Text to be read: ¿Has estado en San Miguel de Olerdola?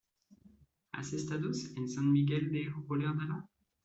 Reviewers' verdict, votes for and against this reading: rejected, 0, 2